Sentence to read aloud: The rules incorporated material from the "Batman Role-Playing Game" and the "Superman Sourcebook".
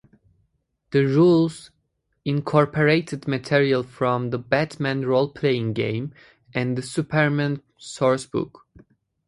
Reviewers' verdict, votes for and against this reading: accepted, 2, 0